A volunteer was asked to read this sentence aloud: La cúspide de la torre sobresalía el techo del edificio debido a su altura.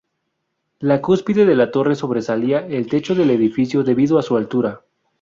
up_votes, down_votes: 0, 2